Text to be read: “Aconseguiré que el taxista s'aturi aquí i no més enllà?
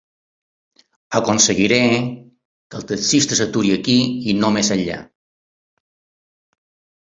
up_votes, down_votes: 2, 0